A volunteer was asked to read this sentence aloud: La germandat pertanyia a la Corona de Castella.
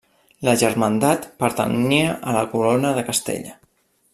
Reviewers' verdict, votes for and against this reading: rejected, 0, 2